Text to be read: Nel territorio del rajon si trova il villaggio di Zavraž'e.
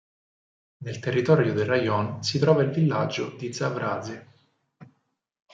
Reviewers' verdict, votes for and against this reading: accepted, 4, 0